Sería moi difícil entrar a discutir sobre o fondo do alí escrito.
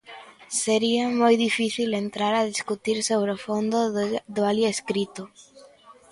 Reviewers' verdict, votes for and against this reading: rejected, 0, 2